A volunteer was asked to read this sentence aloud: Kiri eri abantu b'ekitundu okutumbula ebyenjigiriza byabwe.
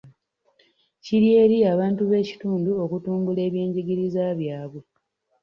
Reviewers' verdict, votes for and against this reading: accepted, 3, 0